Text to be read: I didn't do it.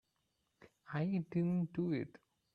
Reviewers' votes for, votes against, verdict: 1, 2, rejected